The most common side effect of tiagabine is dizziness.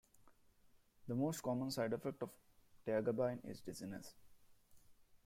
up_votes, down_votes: 0, 2